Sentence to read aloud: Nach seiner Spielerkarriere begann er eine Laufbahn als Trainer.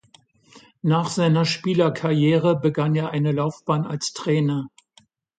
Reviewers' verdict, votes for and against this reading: accepted, 2, 0